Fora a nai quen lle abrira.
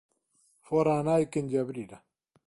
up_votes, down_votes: 2, 0